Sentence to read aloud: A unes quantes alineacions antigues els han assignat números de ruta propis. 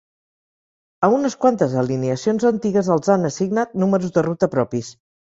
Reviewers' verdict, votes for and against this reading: accepted, 6, 0